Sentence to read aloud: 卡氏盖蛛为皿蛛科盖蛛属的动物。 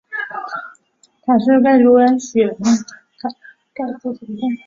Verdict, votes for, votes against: rejected, 0, 3